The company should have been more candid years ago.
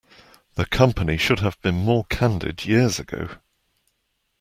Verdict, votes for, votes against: accepted, 2, 0